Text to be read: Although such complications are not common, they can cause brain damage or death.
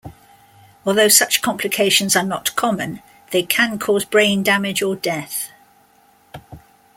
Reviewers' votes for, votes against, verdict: 2, 0, accepted